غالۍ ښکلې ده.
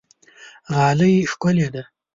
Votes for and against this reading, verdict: 2, 0, accepted